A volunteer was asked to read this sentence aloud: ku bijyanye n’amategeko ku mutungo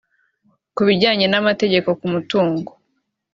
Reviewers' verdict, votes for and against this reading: accepted, 2, 0